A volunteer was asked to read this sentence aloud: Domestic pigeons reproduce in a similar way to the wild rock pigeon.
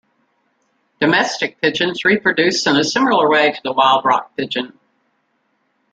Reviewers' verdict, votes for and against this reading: rejected, 1, 2